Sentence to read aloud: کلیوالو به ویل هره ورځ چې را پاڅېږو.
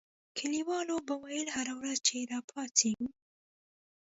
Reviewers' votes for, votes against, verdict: 2, 1, accepted